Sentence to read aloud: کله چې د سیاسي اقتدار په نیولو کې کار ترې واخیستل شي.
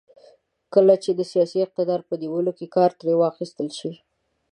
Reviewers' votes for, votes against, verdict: 2, 0, accepted